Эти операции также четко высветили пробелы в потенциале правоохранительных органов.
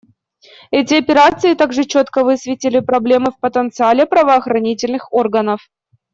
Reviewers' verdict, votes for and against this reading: rejected, 1, 2